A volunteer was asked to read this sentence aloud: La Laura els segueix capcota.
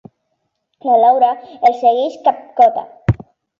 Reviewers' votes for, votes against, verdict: 2, 0, accepted